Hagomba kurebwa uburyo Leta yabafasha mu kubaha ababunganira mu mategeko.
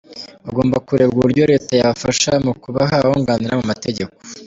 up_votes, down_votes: 2, 0